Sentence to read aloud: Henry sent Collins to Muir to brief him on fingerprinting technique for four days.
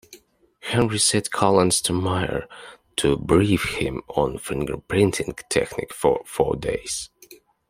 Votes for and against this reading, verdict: 2, 1, accepted